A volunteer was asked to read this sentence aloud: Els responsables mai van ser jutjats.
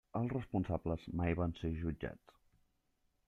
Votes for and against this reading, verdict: 3, 0, accepted